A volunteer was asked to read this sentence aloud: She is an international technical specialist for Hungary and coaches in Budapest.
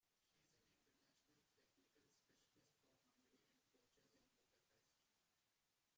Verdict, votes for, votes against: rejected, 0, 2